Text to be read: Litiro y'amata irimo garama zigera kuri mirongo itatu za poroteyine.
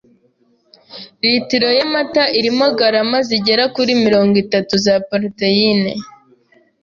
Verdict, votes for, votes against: accepted, 2, 0